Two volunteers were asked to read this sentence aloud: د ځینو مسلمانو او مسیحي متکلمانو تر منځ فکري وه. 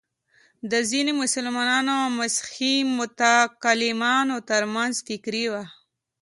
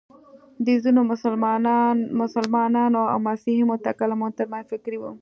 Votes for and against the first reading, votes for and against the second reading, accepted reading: 0, 2, 2, 0, second